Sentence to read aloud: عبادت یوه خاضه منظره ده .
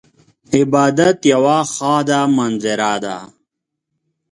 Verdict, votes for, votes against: accepted, 2, 0